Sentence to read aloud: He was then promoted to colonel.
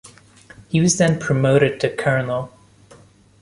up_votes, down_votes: 2, 0